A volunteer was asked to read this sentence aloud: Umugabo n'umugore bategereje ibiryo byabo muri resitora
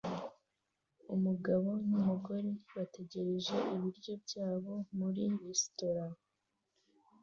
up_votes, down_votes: 2, 0